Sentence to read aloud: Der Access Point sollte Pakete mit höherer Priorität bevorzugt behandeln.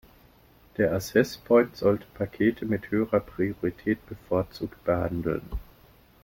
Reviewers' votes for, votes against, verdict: 1, 2, rejected